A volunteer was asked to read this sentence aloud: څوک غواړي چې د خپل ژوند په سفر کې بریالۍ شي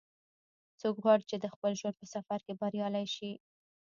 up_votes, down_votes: 1, 2